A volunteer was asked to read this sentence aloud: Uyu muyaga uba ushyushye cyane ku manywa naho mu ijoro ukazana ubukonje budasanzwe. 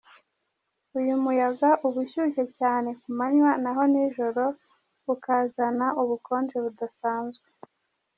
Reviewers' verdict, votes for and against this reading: rejected, 1, 2